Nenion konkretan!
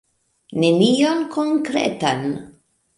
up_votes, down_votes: 2, 1